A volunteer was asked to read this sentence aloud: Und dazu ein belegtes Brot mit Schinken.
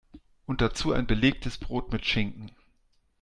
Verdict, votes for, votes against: accepted, 2, 0